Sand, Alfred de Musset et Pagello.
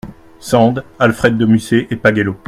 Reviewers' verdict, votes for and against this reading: accepted, 2, 0